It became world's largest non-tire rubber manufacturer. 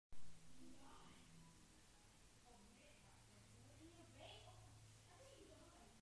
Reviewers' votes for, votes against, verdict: 0, 2, rejected